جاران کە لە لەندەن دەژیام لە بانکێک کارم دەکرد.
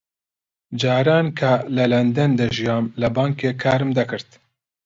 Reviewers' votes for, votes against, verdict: 2, 0, accepted